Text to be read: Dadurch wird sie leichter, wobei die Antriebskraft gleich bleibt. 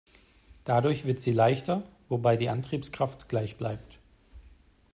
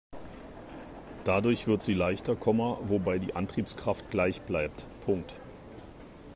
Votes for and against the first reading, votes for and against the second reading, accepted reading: 2, 0, 0, 2, first